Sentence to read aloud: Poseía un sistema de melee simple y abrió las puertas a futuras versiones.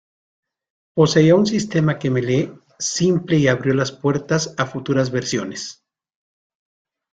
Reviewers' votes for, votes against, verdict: 1, 2, rejected